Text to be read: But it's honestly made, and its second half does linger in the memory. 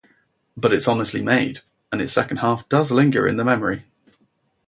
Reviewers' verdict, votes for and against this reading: accepted, 2, 0